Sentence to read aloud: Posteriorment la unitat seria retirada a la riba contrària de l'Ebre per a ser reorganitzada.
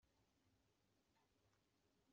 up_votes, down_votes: 0, 2